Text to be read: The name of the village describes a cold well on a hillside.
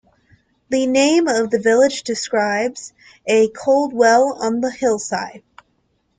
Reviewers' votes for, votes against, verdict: 0, 2, rejected